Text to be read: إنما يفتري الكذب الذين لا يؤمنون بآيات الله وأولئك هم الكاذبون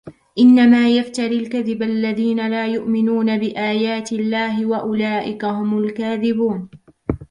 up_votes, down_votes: 1, 2